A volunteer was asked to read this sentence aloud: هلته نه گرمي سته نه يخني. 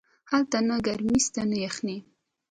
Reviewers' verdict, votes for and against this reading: accepted, 2, 0